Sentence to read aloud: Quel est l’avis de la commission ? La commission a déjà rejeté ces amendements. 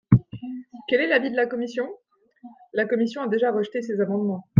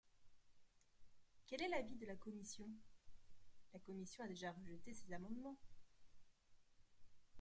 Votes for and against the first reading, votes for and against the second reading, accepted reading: 2, 0, 0, 2, first